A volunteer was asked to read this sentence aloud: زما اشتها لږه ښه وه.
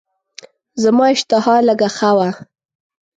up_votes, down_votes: 2, 0